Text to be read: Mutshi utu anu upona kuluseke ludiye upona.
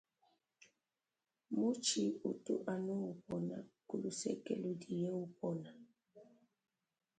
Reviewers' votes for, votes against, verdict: 1, 2, rejected